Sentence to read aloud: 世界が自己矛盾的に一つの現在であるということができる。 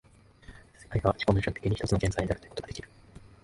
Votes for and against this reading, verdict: 0, 2, rejected